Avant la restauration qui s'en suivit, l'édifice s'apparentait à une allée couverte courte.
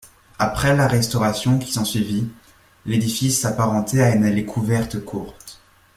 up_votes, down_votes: 0, 2